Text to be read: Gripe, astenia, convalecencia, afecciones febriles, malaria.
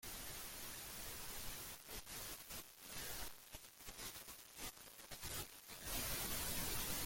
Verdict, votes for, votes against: rejected, 0, 2